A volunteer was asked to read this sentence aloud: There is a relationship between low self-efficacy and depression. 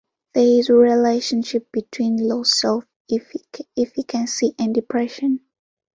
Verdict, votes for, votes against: rejected, 1, 2